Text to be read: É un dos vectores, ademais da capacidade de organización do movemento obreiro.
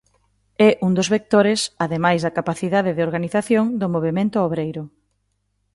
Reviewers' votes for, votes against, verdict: 2, 0, accepted